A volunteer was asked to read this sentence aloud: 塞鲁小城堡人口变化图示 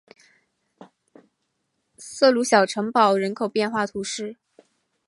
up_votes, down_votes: 6, 0